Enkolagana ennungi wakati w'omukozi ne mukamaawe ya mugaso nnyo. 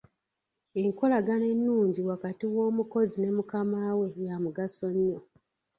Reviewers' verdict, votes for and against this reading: accepted, 2, 1